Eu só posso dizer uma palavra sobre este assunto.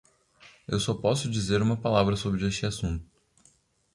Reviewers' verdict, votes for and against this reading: accepted, 2, 0